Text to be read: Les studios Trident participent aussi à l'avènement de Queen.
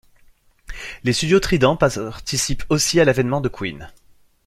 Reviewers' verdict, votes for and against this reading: rejected, 1, 2